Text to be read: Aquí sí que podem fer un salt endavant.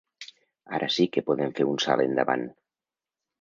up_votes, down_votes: 0, 2